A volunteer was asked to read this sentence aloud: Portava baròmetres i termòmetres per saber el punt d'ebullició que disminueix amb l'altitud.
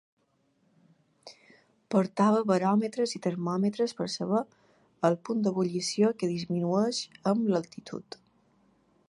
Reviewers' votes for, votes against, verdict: 2, 0, accepted